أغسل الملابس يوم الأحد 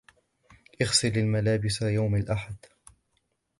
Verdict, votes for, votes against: accepted, 2, 1